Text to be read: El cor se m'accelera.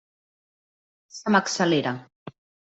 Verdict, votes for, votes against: rejected, 0, 2